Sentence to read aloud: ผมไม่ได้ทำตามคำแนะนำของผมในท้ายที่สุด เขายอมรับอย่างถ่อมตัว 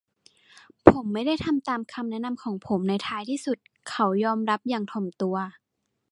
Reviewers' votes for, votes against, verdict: 2, 0, accepted